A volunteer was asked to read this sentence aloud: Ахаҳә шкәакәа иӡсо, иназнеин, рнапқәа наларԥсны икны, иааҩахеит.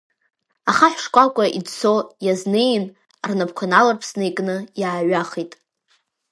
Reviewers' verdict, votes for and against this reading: rejected, 0, 2